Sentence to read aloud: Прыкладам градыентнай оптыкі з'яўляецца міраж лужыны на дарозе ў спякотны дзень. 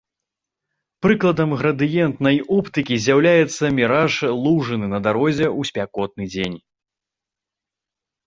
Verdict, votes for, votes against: accepted, 2, 0